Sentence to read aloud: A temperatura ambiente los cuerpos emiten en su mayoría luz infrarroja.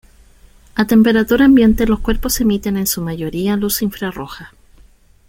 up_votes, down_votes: 2, 0